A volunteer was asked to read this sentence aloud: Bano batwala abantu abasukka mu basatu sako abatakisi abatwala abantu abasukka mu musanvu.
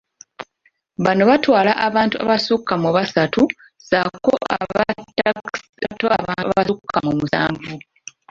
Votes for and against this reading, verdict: 0, 2, rejected